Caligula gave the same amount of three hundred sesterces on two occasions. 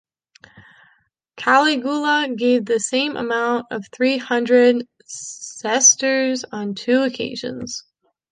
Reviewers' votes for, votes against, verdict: 1, 2, rejected